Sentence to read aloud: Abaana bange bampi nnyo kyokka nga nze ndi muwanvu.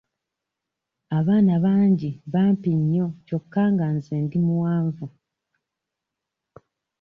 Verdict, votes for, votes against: rejected, 0, 2